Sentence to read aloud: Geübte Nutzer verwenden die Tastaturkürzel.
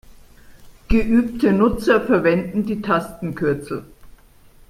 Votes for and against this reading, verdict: 0, 2, rejected